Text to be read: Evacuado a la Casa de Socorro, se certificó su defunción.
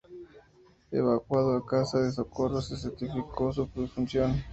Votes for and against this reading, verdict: 0, 2, rejected